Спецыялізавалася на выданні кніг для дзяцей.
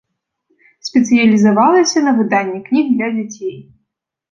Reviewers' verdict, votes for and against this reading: accepted, 2, 0